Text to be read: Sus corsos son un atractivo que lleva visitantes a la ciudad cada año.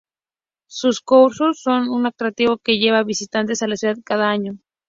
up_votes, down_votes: 2, 0